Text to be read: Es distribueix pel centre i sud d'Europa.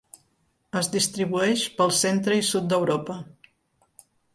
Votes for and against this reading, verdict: 3, 0, accepted